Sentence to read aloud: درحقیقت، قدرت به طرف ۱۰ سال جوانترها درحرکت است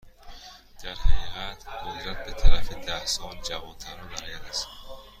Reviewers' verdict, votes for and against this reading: rejected, 0, 2